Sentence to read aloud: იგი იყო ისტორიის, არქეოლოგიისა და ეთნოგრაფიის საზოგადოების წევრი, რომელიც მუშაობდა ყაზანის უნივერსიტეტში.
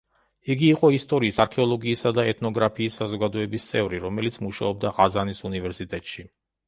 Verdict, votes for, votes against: accepted, 2, 0